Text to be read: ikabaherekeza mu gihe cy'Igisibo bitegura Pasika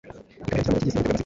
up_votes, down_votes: 0, 2